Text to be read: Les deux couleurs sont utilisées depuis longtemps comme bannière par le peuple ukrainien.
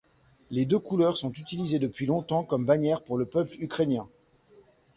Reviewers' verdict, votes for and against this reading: rejected, 1, 2